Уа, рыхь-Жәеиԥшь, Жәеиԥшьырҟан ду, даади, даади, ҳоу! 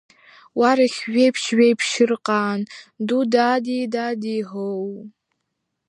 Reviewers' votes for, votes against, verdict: 2, 0, accepted